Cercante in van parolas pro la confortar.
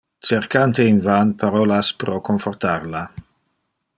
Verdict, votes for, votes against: rejected, 0, 2